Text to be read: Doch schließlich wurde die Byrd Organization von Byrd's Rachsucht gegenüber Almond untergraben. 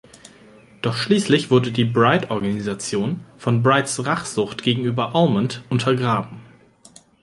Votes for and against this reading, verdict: 0, 2, rejected